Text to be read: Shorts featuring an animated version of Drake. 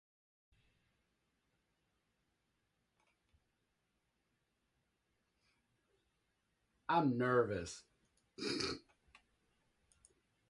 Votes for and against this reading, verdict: 0, 2, rejected